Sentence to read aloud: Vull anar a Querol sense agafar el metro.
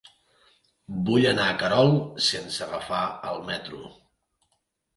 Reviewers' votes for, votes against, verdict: 2, 0, accepted